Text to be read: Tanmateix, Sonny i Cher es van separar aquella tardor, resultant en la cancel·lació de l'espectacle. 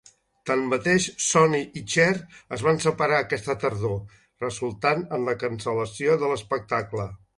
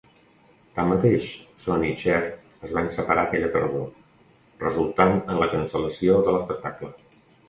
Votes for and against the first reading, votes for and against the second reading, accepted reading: 0, 2, 2, 0, second